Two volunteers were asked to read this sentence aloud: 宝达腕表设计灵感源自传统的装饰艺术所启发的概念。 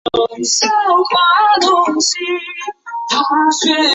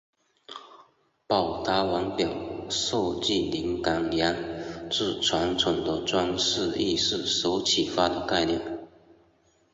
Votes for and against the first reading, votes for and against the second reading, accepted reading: 0, 2, 2, 0, second